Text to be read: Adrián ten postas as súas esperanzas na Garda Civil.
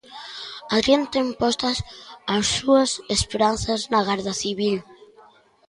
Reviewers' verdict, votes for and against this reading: accepted, 3, 0